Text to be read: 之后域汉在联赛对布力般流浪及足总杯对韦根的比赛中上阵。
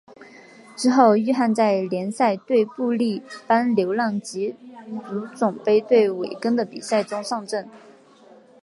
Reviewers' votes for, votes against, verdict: 2, 1, accepted